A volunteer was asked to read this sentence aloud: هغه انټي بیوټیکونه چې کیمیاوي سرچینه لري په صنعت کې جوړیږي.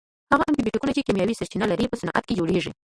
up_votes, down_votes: 1, 2